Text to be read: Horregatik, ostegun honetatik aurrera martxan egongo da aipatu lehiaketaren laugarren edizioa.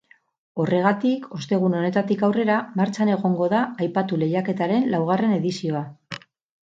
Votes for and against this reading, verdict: 4, 0, accepted